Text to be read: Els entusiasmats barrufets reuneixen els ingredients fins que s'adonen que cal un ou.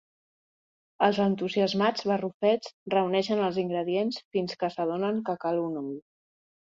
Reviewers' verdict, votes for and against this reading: rejected, 1, 3